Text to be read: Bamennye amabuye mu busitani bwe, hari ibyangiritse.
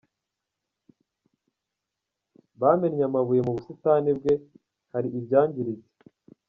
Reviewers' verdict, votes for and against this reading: accepted, 2, 1